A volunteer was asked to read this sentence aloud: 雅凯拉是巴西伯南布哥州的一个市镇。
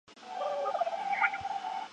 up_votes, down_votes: 0, 3